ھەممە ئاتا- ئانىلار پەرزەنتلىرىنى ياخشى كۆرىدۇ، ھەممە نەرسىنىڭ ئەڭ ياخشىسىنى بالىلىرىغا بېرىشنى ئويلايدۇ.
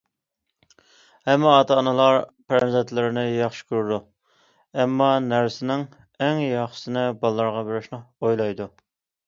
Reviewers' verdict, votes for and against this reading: accepted, 2, 0